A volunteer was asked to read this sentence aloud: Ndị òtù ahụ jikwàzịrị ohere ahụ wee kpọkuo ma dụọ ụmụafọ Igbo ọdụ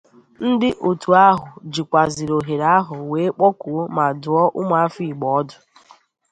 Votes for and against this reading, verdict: 2, 0, accepted